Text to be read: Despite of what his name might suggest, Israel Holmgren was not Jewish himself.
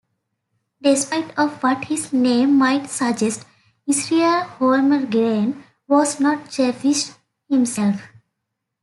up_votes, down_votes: 2, 1